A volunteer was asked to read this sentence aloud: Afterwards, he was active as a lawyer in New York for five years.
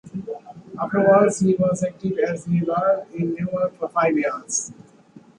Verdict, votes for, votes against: accepted, 2, 0